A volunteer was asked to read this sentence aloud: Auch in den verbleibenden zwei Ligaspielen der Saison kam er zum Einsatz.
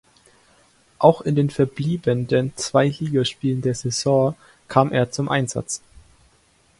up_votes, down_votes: 1, 2